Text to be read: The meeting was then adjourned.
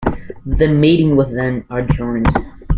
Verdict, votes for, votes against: accepted, 2, 1